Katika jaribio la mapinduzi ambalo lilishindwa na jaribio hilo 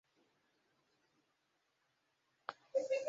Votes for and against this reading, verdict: 1, 2, rejected